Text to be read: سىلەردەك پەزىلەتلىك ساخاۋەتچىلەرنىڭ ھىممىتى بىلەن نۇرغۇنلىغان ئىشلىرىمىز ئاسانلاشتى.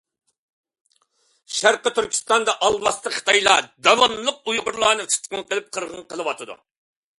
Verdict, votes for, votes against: rejected, 0, 2